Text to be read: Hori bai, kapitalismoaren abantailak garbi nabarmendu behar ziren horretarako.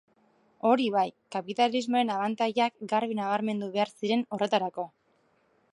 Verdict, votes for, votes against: accepted, 2, 1